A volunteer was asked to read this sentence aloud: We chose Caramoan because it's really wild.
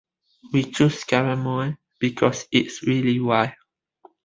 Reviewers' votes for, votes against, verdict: 2, 1, accepted